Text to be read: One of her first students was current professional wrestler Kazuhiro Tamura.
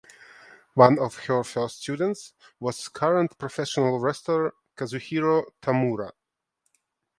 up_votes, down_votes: 1, 2